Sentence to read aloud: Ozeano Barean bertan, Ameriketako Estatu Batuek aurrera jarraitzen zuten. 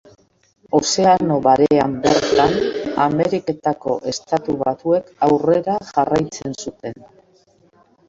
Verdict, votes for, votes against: accepted, 2, 0